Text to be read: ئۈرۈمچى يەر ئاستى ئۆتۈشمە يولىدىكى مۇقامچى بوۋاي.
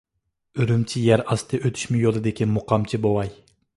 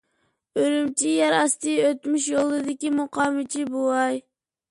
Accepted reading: first